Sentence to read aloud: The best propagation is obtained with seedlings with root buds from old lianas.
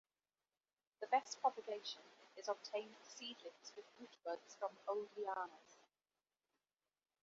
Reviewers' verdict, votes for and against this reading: rejected, 0, 2